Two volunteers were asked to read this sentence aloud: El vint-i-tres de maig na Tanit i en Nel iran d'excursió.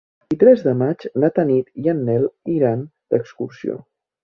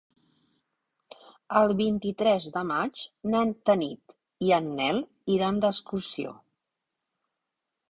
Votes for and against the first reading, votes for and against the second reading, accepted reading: 0, 5, 3, 0, second